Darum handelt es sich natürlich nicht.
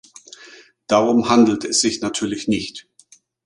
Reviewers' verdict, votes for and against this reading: accepted, 2, 0